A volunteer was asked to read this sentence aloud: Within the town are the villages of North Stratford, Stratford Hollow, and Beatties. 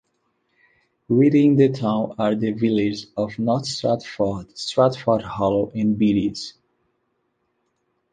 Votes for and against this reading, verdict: 3, 2, accepted